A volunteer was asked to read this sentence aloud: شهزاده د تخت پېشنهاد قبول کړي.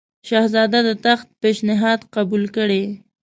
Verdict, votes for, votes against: accepted, 2, 1